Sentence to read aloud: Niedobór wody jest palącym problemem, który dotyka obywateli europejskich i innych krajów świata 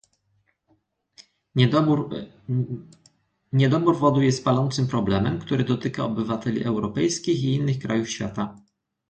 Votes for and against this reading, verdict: 0, 2, rejected